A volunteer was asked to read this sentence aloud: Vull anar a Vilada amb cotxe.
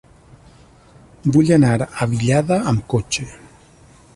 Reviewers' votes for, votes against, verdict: 0, 2, rejected